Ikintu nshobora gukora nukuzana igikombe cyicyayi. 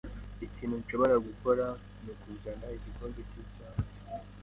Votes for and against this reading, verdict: 2, 1, accepted